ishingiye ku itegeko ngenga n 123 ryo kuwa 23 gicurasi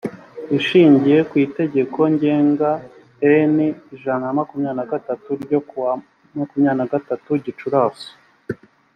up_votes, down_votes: 0, 2